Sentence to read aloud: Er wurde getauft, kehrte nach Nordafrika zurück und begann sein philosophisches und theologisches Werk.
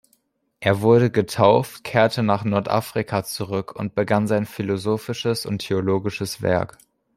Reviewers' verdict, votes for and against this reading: accepted, 2, 0